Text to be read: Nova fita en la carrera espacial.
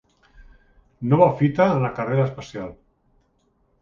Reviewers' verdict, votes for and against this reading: accepted, 2, 0